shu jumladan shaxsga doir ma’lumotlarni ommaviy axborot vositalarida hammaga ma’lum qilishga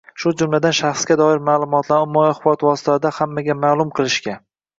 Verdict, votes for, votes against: rejected, 0, 2